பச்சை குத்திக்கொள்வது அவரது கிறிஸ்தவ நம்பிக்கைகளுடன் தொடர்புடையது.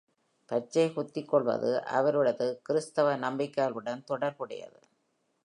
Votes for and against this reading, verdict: 2, 0, accepted